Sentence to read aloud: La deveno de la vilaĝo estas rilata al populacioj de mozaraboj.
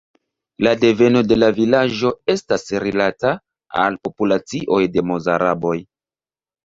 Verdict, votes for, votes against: rejected, 0, 2